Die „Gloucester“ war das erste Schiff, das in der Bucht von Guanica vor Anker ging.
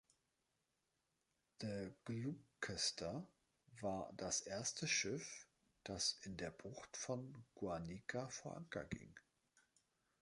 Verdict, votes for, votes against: rejected, 0, 2